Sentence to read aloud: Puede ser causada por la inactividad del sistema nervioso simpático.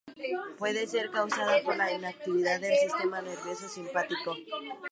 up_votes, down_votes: 0, 2